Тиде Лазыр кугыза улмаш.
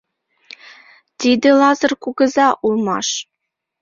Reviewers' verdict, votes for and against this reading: accepted, 2, 0